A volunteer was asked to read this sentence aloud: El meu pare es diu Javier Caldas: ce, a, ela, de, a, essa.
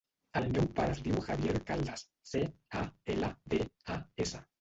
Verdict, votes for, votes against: rejected, 1, 2